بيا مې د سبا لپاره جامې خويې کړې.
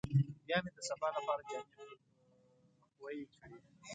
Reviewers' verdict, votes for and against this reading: rejected, 1, 2